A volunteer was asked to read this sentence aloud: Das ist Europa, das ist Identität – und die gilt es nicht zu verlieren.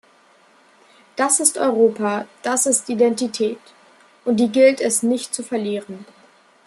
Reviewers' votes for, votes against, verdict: 2, 0, accepted